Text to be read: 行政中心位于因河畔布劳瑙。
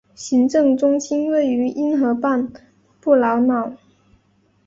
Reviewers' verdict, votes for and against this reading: accepted, 2, 0